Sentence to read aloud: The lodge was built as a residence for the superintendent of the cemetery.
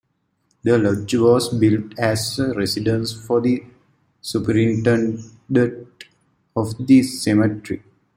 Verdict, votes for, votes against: accepted, 2, 1